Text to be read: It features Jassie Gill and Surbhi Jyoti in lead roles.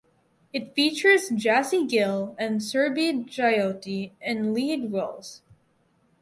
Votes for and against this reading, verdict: 4, 0, accepted